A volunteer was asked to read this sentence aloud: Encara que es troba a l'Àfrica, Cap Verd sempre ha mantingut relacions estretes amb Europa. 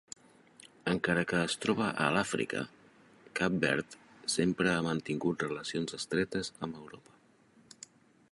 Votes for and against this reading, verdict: 1, 2, rejected